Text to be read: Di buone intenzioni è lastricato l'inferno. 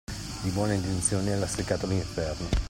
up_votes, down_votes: 2, 0